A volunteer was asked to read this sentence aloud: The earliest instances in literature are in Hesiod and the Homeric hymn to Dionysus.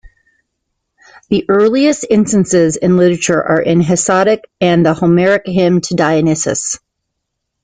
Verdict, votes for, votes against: accepted, 2, 1